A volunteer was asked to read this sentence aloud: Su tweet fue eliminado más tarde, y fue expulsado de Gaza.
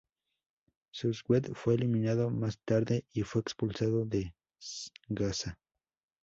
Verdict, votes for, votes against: rejected, 0, 2